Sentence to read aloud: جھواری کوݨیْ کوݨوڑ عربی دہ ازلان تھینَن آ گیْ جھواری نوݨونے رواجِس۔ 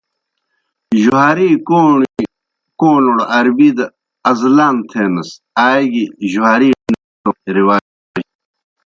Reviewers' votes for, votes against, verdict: 0, 2, rejected